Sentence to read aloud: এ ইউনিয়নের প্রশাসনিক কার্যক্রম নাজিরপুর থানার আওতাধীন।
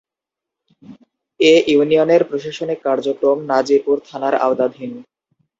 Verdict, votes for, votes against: accepted, 2, 0